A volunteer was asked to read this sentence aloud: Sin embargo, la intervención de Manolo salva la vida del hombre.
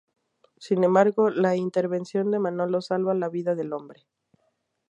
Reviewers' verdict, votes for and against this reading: accepted, 2, 0